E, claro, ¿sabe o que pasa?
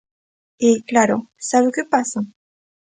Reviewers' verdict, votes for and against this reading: accepted, 2, 0